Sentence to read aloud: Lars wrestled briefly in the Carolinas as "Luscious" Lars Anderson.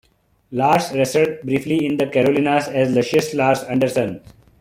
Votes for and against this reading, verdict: 0, 2, rejected